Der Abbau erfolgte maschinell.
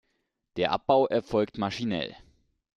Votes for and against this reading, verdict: 1, 2, rejected